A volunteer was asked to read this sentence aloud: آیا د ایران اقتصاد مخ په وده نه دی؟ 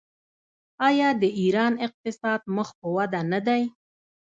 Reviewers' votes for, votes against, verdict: 2, 0, accepted